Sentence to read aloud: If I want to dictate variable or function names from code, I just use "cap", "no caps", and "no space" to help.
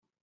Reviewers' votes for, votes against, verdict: 0, 2, rejected